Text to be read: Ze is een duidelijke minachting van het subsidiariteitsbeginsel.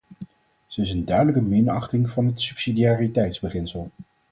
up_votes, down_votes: 4, 0